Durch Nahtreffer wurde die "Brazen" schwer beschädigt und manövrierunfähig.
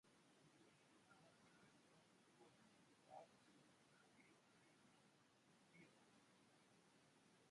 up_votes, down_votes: 0, 2